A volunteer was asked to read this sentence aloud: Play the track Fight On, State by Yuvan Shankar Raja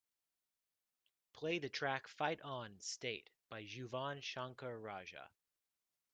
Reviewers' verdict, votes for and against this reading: accepted, 2, 1